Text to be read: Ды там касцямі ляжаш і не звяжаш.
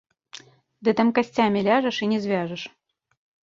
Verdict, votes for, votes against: accepted, 2, 0